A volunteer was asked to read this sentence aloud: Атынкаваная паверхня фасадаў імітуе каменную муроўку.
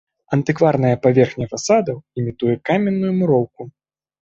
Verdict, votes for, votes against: rejected, 0, 2